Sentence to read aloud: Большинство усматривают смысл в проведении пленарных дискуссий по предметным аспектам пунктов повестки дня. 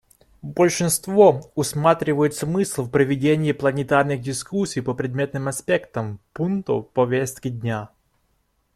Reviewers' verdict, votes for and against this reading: rejected, 0, 2